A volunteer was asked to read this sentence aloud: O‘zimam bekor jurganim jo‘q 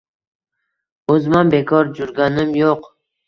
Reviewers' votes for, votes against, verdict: 1, 2, rejected